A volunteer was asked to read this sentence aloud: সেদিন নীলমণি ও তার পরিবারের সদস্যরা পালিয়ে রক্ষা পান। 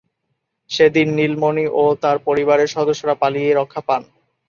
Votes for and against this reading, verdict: 3, 0, accepted